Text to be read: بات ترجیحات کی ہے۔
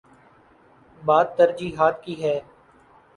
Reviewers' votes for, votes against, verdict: 2, 0, accepted